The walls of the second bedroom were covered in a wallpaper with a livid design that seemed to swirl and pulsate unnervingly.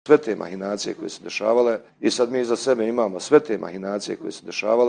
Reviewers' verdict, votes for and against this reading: rejected, 0, 2